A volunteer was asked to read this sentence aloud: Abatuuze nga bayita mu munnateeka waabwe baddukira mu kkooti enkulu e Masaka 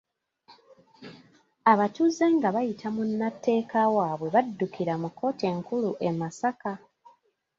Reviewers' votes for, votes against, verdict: 2, 1, accepted